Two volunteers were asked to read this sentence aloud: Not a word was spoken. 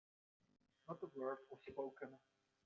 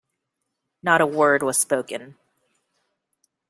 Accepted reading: second